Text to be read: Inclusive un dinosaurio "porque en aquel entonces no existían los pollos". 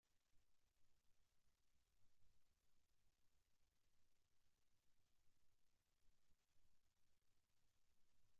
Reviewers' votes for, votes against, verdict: 0, 2, rejected